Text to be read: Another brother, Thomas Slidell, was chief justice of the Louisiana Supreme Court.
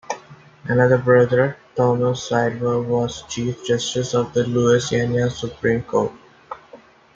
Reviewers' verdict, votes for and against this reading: accepted, 2, 0